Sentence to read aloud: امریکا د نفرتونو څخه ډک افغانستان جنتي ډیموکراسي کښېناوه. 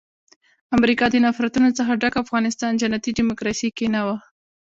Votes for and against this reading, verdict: 0, 2, rejected